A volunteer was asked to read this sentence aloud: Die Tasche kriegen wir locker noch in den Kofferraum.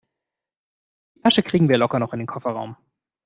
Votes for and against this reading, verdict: 0, 2, rejected